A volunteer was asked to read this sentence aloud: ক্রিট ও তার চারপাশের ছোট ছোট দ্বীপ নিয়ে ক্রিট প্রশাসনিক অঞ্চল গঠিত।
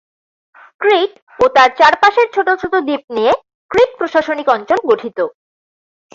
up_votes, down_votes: 10, 0